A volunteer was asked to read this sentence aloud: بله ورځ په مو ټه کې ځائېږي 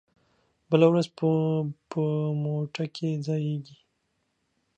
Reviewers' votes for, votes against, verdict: 1, 2, rejected